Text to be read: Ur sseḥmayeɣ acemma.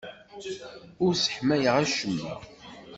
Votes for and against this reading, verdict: 2, 0, accepted